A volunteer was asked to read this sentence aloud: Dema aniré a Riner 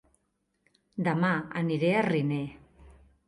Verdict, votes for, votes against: accepted, 3, 0